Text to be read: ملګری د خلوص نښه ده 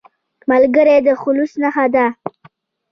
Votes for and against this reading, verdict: 2, 1, accepted